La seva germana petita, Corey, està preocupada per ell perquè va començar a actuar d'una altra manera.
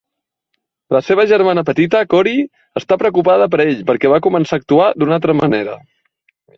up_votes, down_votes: 3, 0